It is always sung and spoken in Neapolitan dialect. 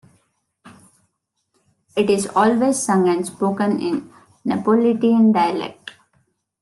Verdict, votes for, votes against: rejected, 1, 2